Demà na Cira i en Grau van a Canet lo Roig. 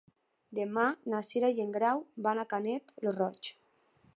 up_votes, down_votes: 3, 0